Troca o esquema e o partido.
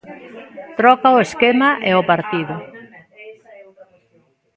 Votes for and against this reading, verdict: 1, 2, rejected